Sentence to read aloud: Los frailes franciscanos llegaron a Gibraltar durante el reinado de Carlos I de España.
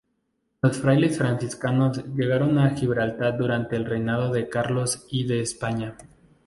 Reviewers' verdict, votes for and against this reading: rejected, 2, 2